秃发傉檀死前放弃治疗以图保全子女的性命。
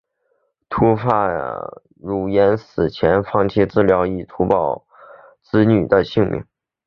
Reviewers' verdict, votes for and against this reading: accepted, 2, 0